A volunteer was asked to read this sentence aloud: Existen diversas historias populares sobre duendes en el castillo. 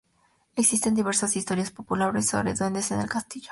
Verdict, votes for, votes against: accepted, 2, 0